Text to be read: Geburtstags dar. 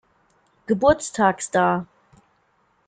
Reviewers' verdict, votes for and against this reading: accepted, 2, 0